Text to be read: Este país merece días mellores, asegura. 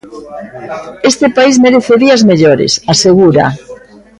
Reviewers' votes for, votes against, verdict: 1, 2, rejected